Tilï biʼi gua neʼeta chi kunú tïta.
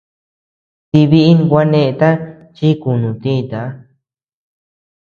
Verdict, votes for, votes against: accepted, 2, 1